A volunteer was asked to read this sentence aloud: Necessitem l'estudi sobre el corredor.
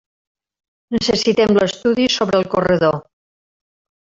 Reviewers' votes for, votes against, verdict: 1, 2, rejected